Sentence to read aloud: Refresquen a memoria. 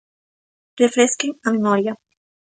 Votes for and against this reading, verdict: 2, 0, accepted